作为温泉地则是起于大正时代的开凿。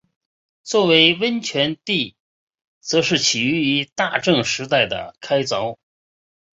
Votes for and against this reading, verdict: 4, 0, accepted